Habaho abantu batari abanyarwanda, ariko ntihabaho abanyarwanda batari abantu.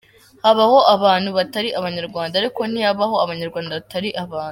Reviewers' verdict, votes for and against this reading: rejected, 0, 2